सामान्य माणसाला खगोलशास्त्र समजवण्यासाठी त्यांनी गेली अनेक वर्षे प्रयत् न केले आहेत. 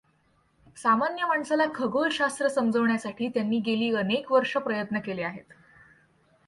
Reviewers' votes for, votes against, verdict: 2, 0, accepted